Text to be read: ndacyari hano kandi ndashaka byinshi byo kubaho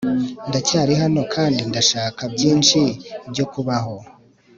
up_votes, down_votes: 2, 0